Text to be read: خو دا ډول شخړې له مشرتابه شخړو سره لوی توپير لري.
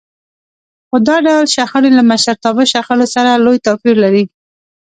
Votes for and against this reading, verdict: 2, 1, accepted